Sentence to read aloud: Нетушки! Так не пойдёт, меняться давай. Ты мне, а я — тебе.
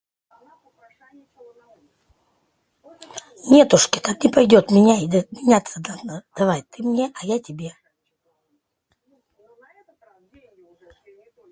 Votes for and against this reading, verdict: 0, 2, rejected